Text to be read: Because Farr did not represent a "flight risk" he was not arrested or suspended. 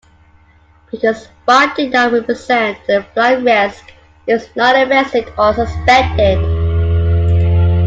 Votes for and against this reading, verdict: 2, 1, accepted